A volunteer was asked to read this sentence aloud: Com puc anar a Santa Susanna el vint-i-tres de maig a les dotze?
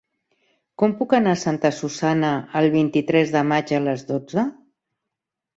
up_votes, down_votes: 3, 0